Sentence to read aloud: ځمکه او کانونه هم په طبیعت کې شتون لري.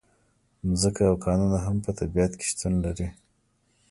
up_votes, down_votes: 2, 0